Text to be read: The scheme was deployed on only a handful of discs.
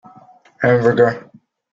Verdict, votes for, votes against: rejected, 0, 2